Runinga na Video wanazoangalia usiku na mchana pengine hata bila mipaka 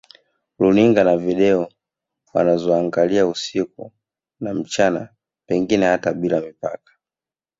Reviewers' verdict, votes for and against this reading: accepted, 7, 0